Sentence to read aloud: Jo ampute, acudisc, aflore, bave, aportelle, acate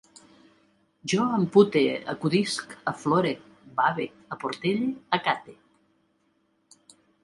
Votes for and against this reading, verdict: 2, 0, accepted